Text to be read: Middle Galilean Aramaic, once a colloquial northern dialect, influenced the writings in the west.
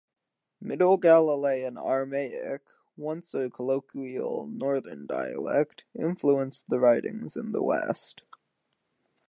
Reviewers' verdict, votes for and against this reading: accepted, 2, 0